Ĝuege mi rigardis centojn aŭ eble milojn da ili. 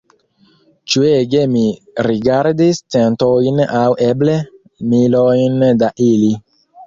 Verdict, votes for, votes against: rejected, 2, 3